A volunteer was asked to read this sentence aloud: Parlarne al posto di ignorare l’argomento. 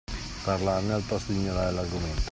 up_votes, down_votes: 2, 1